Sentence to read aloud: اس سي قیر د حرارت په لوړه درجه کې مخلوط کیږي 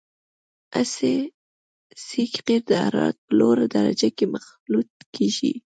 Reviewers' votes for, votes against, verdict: 1, 2, rejected